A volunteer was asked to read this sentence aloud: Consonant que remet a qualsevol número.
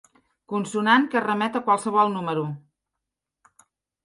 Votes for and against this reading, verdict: 3, 0, accepted